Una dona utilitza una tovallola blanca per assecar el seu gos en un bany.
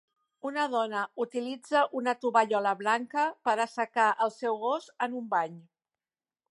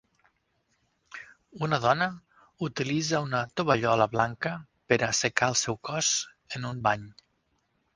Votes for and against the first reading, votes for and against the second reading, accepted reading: 4, 0, 0, 6, first